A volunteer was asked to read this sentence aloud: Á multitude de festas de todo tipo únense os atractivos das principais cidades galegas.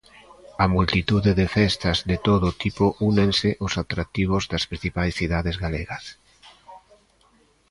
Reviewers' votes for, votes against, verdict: 2, 1, accepted